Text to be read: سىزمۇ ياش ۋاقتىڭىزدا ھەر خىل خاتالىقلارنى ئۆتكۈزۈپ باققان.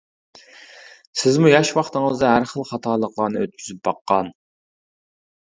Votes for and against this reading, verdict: 2, 0, accepted